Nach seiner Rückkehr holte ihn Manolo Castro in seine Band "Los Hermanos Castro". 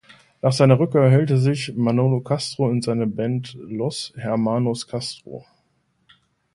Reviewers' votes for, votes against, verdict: 1, 2, rejected